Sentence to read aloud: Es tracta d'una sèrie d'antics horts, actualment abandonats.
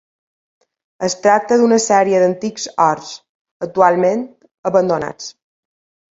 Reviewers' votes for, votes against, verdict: 2, 0, accepted